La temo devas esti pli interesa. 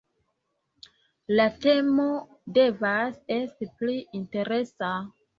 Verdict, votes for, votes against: accepted, 2, 0